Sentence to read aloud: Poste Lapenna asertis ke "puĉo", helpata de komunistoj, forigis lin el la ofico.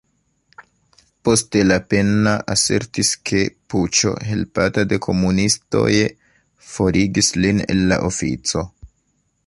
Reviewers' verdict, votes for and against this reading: accepted, 2, 0